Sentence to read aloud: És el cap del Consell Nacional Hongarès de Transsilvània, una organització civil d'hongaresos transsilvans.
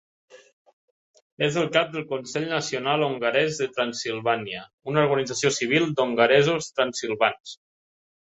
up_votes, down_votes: 3, 0